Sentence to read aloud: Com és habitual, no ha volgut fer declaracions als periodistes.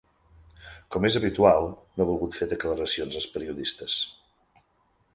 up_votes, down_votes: 3, 0